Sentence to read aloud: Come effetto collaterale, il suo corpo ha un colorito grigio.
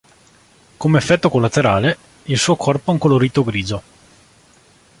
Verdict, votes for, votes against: accepted, 2, 0